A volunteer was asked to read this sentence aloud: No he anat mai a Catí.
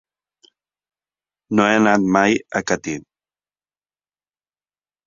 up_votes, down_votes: 3, 0